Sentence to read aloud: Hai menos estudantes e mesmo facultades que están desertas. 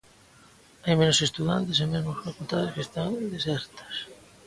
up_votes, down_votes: 1, 2